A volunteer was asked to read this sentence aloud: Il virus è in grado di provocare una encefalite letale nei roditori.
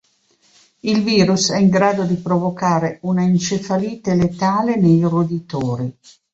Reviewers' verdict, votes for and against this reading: accepted, 3, 0